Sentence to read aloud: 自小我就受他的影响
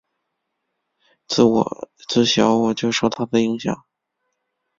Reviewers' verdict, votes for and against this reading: rejected, 0, 2